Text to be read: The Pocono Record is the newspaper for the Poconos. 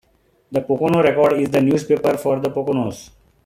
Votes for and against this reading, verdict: 0, 2, rejected